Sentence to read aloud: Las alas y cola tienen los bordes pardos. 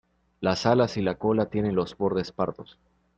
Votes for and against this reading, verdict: 0, 2, rejected